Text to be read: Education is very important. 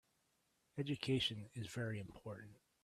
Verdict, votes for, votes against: accepted, 3, 0